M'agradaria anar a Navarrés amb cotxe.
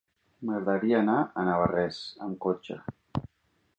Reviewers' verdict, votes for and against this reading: accepted, 3, 0